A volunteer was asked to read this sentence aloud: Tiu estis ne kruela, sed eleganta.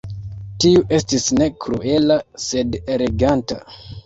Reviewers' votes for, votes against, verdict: 2, 0, accepted